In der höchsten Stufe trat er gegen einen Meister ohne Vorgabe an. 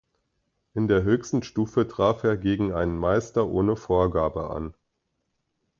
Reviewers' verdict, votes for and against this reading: accepted, 2, 1